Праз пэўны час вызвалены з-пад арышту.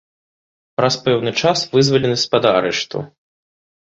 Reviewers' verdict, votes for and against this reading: accepted, 2, 0